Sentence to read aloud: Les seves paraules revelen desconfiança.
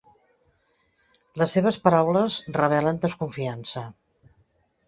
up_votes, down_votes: 2, 0